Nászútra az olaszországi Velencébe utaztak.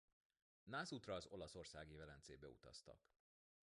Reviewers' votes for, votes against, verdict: 1, 2, rejected